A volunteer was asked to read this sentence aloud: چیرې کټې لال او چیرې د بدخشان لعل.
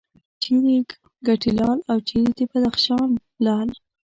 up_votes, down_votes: 1, 2